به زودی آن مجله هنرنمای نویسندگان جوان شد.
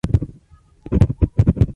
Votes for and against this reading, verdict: 0, 2, rejected